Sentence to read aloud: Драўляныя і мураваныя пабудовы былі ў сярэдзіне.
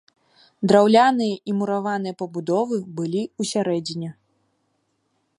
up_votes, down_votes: 2, 0